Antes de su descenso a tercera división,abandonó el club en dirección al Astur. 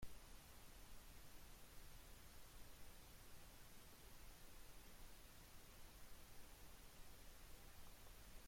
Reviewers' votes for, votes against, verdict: 0, 2, rejected